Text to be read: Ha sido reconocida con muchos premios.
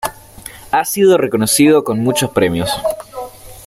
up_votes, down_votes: 2, 0